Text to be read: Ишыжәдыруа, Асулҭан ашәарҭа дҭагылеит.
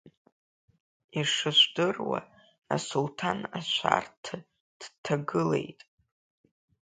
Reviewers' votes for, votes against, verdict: 3, 0, accepted